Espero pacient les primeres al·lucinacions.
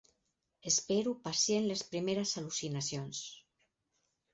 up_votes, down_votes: 4, 0